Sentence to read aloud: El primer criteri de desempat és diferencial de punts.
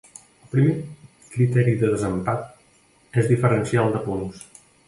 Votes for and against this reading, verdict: 1, 2, rejected